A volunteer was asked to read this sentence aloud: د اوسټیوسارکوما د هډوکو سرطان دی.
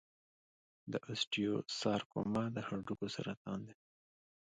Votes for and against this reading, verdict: 2, 0, accepted